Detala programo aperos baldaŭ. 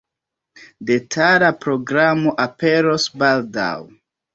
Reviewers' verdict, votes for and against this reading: rejected, 1, 2